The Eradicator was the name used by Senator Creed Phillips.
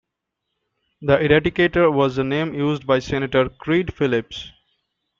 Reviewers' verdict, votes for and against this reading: accepted, 2, 0